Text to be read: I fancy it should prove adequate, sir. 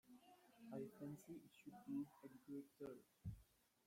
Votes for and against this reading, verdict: 0, 2, rejected